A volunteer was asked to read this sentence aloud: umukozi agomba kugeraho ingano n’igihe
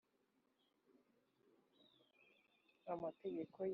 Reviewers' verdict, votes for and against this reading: rejected, 1, 2